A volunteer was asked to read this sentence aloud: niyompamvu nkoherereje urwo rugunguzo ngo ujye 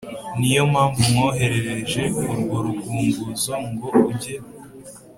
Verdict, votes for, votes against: accepted, 3, 0